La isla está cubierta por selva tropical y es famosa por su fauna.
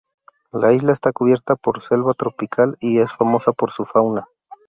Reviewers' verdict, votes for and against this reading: accepted, 4, 0